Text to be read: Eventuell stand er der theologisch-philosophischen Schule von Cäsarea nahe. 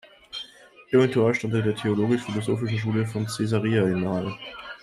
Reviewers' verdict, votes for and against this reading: rejected, 0, 2